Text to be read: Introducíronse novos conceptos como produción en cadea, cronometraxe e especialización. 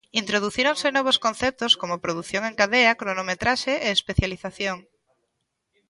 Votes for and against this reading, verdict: 2, 0, accepted